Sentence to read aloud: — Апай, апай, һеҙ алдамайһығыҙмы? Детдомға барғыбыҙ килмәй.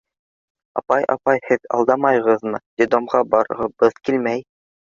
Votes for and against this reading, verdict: 1, 2, rejected